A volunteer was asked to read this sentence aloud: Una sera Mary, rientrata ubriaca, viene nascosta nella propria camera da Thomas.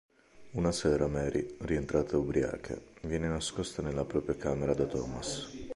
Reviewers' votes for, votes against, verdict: 2, 0, accepted